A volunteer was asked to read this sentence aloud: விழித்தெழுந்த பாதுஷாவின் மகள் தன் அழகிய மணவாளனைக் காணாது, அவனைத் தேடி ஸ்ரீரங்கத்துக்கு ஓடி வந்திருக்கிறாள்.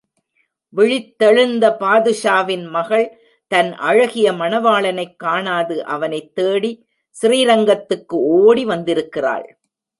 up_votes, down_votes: 1, 2